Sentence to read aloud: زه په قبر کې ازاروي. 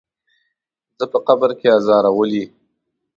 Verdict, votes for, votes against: rejected, 1, 2